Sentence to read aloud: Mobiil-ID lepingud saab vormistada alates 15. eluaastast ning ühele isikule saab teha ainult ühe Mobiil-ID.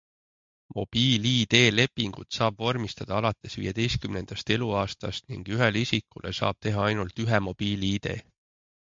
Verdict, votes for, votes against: rejected, 0, 2